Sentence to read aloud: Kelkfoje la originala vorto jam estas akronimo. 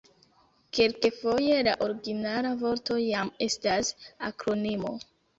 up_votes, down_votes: 0, 2